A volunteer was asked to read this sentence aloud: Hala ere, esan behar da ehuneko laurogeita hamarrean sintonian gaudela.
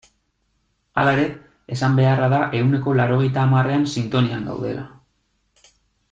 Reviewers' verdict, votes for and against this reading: rejected, 2, 3